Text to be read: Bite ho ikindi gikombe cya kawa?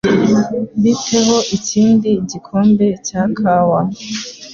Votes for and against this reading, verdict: 2, 0, accepted